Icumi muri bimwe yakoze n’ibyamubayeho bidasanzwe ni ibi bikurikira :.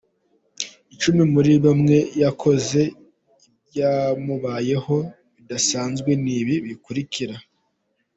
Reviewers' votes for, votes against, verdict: 1, 2, rejected